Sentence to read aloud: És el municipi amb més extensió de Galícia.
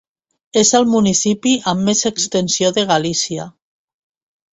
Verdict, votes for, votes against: accepted, 2, 0